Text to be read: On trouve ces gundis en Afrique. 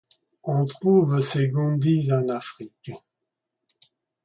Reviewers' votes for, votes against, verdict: 2, 0, accepted